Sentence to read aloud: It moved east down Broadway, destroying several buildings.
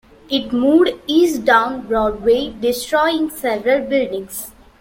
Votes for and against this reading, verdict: 2, 1, accepted